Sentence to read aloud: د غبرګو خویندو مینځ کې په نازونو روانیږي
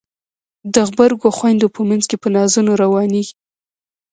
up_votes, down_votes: 0, 2